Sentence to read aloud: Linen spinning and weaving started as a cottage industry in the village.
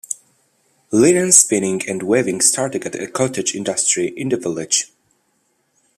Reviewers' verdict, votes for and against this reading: rejected, 0, 2